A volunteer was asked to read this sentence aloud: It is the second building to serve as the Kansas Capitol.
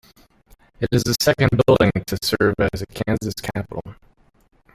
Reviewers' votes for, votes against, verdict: 1, 2, rejected